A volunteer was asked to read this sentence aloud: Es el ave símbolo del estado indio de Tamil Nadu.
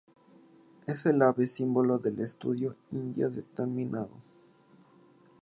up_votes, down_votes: 0, 2